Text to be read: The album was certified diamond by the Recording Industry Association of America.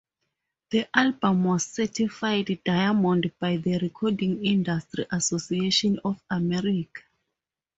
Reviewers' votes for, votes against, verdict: 2, 2, rejected